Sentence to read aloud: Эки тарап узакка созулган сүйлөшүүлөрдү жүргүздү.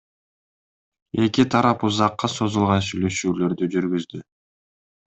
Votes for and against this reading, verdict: 2, 0, accepted